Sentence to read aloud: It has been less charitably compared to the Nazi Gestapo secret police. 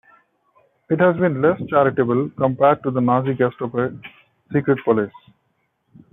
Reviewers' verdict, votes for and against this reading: rejected, 0, 2